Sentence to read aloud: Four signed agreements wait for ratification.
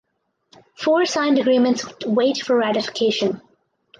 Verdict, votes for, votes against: accepted, 2, 0